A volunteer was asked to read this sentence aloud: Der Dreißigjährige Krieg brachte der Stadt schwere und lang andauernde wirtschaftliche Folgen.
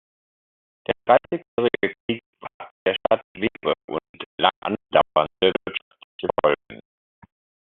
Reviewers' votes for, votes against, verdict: 0, 3, rejected